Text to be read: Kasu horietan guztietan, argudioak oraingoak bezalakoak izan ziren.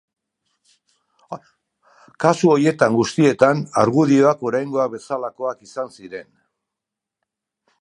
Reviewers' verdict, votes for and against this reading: rejected, 0, 2